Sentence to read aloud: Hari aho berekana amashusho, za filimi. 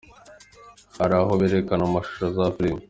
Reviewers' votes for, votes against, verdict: 2, 0, accepted